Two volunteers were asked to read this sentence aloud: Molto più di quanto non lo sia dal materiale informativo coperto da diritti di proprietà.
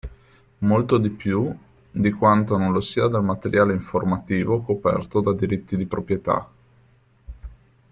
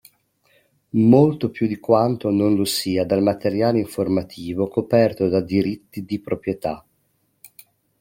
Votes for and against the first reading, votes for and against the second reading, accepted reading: 1, 2, 2, 0, second